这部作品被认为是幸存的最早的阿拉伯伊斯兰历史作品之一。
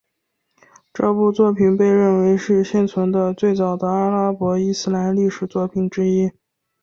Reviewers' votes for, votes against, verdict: 3, 1, accepted